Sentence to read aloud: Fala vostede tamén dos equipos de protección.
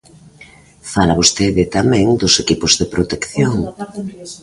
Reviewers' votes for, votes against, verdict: 2, 0, accepted